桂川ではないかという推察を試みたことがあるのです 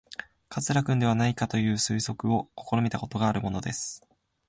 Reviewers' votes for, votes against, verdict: 0, 2, rejected